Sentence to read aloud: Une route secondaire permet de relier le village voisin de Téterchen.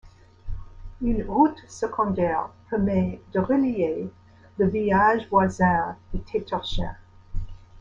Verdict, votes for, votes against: accepted, 2, 1